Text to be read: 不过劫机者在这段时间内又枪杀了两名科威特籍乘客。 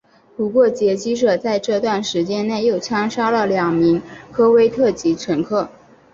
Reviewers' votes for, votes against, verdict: 2, 0, accepted